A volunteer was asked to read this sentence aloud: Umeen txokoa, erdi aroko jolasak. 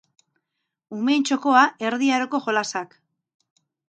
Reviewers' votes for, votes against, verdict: 0, 2, rejected